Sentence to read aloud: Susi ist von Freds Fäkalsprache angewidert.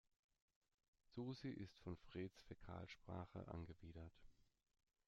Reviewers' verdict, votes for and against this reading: accepted, 2, 0